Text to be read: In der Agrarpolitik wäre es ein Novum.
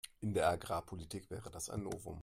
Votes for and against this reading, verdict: 0, 2, rejected